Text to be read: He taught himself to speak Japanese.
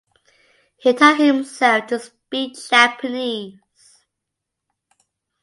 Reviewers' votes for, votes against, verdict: 2, 0, accepted